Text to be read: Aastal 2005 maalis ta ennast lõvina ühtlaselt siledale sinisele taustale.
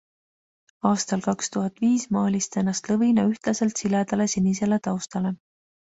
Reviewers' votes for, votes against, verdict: 0, 2, rejected